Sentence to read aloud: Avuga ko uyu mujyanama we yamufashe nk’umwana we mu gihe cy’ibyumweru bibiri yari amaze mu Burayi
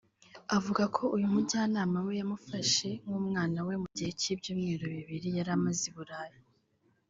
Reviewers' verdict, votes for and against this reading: rejected, 1, 2